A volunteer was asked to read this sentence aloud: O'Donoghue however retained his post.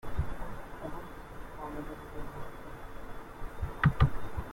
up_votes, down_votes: 0, 2